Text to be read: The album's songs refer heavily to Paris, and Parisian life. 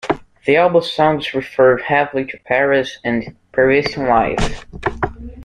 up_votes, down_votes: 2, 0